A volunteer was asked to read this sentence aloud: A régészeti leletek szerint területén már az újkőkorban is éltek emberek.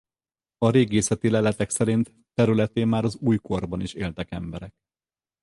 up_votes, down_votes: 0, 4